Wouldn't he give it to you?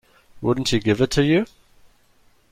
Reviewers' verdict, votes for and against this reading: rejected, 1, 2